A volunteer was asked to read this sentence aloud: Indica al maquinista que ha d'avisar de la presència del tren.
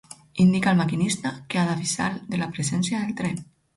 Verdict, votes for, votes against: accepted, 4, 0